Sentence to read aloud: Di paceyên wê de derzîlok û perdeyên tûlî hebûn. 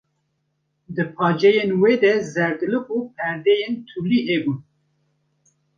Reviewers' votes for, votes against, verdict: 0, 2, rejected